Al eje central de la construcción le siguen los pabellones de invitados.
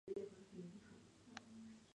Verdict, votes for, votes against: rejected, 0, 2